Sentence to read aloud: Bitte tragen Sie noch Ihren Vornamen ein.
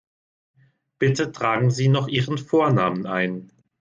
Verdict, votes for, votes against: accepted, 2, 0